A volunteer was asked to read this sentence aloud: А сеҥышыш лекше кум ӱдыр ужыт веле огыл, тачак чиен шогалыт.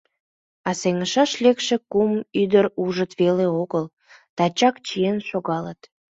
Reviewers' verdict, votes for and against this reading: rejected, 1, 2